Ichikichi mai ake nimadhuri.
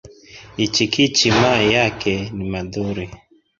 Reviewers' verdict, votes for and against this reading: rejected, 1, 2